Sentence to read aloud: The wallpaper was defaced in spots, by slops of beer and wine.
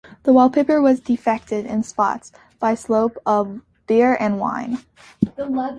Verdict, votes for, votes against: rejected, 0, 2